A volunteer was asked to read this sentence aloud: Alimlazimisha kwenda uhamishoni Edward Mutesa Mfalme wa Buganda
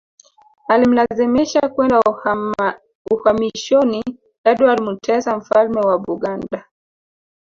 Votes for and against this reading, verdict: 1, 3, rejected